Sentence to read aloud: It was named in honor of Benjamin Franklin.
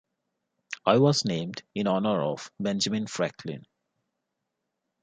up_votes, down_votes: 0, 2